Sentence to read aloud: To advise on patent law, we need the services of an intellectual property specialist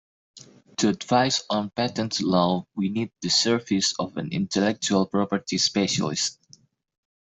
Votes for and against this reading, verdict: 2, 3, rejected